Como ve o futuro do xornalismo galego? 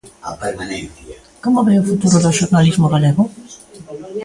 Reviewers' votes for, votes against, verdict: 0, 2, rejected